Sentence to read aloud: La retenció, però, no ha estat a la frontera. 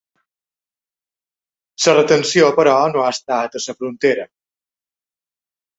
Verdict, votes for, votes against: rejected, 0, 2